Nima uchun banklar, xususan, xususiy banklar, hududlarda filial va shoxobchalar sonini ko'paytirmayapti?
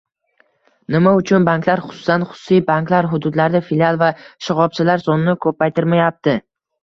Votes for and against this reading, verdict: 2, 0, accepted